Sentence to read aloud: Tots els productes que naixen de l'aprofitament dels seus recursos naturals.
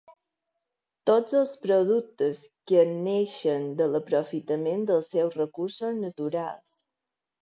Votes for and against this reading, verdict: 1, 2, rejected